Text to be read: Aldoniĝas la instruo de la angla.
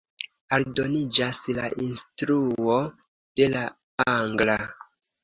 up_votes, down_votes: 2, 0